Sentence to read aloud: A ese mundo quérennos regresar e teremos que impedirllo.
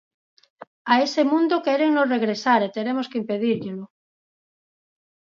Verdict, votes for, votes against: rejected, 0, 4